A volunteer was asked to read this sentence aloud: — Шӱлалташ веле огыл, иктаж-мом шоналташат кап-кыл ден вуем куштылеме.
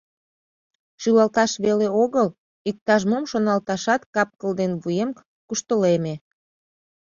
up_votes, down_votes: 2, 0